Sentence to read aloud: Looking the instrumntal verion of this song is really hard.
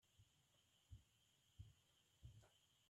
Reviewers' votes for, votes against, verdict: 0, 2, rejected